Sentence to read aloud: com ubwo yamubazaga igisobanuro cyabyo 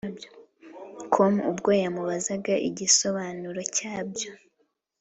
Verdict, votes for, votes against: accepted, 2, 0